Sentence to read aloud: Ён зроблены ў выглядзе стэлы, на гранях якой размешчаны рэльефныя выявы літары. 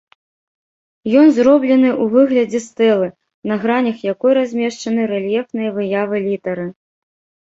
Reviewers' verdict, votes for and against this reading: accepted, 2, 0